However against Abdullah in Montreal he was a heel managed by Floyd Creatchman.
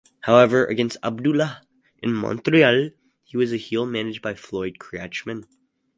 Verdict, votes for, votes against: accepted, 4, 0